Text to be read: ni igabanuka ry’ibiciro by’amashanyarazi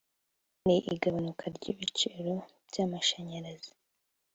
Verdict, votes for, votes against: rejected, 1, 2